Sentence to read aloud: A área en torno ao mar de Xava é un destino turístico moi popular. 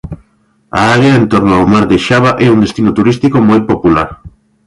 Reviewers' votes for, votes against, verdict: 1, 2, rejected